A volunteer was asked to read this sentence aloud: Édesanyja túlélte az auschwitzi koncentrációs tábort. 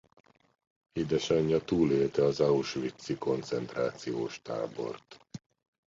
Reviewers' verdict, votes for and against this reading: accepted, 2, 0